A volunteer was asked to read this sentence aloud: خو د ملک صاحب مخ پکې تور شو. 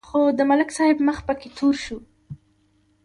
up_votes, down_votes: 3, 0